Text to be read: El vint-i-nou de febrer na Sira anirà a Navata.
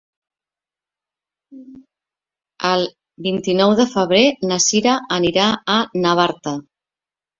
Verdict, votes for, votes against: rejected, 0, 2